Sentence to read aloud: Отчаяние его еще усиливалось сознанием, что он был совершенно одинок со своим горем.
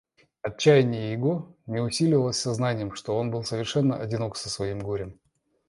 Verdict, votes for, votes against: rejected, 1, 2